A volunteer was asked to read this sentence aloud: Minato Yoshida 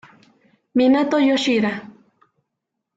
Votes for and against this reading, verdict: 2, 0, accepted